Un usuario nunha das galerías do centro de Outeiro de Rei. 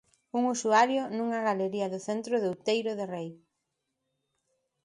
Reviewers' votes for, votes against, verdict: 0, 2, rejected